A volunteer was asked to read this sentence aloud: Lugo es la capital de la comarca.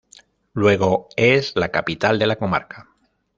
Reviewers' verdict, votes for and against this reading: rejected, 0, 2